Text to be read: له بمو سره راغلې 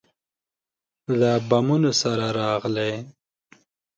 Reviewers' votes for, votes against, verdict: 0, 2, rejected